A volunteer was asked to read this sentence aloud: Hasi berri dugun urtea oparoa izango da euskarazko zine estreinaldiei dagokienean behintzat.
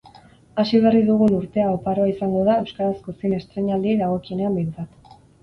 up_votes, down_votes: 4, 0